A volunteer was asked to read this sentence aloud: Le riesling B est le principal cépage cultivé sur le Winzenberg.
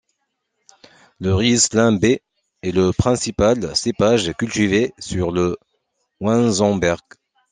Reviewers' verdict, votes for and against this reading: rejected, 0, 2